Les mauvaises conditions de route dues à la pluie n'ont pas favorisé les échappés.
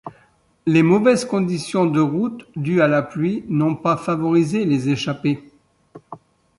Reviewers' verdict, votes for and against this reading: accepted, 2, 0